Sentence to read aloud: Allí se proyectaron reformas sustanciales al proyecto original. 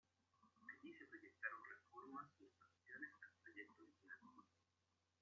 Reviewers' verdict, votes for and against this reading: rejected, 0, 2